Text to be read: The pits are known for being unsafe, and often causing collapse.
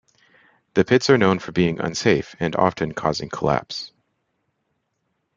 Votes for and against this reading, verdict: 2, 0, accepted